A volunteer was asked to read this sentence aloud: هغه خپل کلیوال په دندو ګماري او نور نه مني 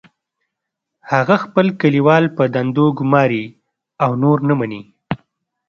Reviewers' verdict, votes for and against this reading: accepted, 2, 0